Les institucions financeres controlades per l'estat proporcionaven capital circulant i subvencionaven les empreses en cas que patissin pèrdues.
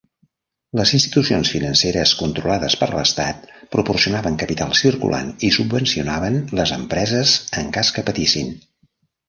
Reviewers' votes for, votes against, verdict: 0, 2, rejected